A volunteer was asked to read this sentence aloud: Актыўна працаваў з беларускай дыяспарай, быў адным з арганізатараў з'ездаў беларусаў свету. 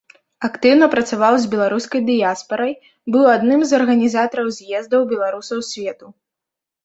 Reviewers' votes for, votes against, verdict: 2, 0, accepted